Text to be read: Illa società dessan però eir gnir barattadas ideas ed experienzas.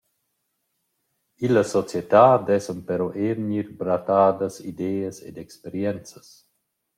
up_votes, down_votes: 0, 2